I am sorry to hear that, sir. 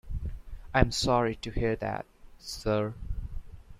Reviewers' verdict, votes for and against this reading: rejected, 1, 2